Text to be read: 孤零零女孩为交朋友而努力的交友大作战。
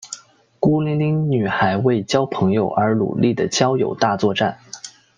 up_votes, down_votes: 2, 0